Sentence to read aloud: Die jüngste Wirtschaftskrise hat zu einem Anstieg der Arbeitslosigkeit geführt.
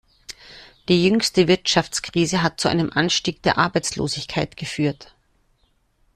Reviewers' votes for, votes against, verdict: 2, 0, accepted